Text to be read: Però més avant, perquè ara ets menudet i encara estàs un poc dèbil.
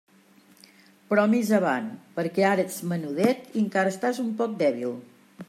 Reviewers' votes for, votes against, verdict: 2, 0, accepted